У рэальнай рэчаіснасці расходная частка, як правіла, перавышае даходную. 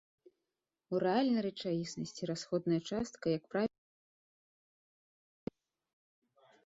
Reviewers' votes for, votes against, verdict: 0, 2, rejected